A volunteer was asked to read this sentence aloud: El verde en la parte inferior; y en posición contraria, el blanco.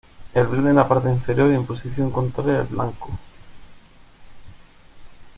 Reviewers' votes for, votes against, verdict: 1, 2, rejected